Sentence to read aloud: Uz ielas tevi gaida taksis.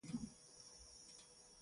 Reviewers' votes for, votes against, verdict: 0, 2, rejected